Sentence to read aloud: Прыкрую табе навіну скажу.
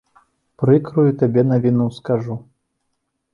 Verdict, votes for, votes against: accepted, 2, 0